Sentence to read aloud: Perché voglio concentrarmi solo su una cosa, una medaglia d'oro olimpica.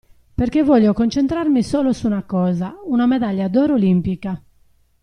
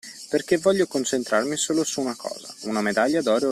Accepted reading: first